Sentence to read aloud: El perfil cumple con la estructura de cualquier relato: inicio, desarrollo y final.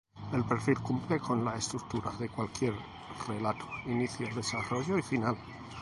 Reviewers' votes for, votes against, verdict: 0, 2, rejected